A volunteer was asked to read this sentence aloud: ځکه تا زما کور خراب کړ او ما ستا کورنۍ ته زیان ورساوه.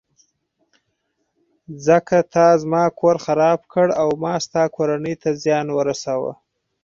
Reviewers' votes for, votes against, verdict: 4, 0, accepted